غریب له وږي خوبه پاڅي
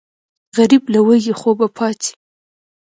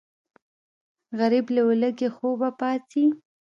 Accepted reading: first